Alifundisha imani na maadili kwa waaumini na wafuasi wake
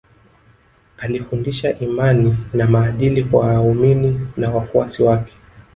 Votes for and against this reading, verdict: 3, 0, accepted